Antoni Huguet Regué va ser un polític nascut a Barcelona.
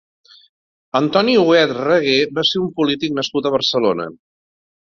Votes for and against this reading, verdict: 2, 0, accepted